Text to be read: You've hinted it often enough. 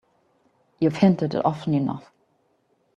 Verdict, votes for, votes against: rejected, 1, 2